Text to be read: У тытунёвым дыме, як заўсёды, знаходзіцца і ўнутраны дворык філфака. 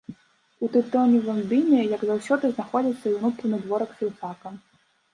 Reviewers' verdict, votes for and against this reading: rejected, 1, 2